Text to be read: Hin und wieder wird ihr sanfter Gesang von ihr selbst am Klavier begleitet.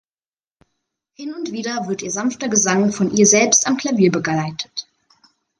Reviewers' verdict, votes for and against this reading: rejected, 0, 2